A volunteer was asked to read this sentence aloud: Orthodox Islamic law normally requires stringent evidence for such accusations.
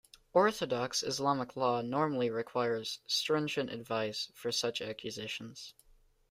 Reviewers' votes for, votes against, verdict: 0, 2, rejected